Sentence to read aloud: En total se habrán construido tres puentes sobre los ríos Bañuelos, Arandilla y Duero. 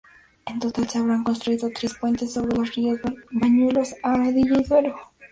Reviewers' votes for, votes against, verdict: 2, 2, rejected